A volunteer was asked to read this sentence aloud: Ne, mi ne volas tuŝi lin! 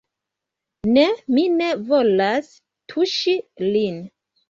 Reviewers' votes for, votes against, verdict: 1, 2, rejected